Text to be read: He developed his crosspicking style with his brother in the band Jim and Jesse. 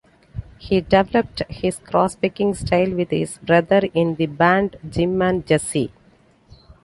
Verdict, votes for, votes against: accepted, 2, 0